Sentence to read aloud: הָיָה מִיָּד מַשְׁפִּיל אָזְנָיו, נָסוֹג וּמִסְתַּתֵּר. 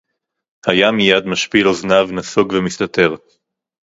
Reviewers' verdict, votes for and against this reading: rejected, 2, 2